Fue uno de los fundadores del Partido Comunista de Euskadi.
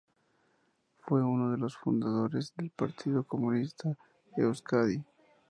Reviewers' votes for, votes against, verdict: 4, 0, accepted